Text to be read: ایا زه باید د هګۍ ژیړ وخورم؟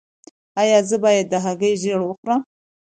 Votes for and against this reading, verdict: 2, 0, accepted